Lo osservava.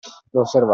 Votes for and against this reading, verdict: 2, 1, accepted